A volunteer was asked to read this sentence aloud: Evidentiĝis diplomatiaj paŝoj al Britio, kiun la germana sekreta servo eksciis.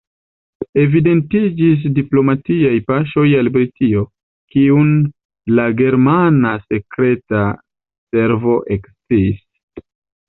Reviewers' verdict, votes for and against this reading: accepted, 2, 0